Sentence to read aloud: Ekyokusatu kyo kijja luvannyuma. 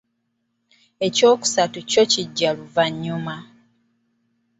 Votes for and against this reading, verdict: 2, 0, accepted